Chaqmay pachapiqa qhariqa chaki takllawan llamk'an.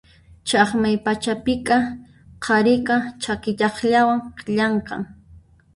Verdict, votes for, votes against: rejected, 0, 2